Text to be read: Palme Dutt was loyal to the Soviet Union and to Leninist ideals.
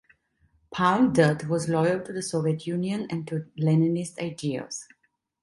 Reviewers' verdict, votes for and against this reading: accepted, 2, 0